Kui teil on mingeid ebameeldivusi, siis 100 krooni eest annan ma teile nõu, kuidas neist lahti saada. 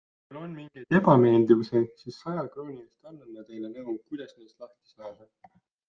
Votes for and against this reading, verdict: 0, 2, rejected